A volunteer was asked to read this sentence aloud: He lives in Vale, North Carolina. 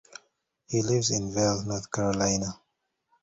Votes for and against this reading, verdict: 1, 2, rejected